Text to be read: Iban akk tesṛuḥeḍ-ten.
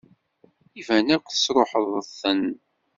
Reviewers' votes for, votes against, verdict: 0, 2, rejected